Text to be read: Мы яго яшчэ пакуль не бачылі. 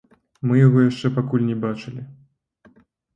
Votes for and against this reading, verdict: 0, 2, rejected